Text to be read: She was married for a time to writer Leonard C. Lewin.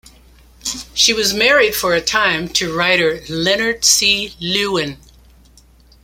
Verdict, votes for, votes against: accepted, 2, 0